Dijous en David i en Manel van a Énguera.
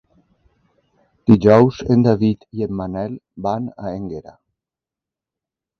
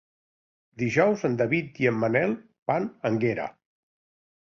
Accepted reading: first